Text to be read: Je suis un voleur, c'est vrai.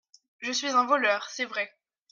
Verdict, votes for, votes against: accepted, 3, 0